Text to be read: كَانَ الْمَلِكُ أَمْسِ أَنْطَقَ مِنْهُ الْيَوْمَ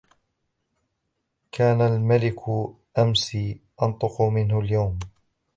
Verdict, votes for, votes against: rejected, 0, 2